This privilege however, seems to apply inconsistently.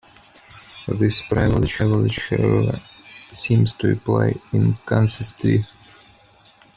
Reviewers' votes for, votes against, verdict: 0, 2, rejected